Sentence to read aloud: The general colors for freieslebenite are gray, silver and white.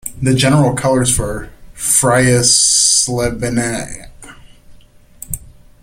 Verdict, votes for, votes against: rejected, 0, 2